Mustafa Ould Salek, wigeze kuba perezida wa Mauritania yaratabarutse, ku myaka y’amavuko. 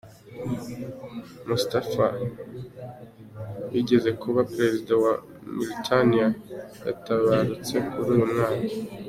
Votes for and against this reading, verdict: 0, 2, rejected